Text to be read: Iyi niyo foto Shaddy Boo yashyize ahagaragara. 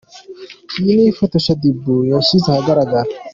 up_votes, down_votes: 2, 1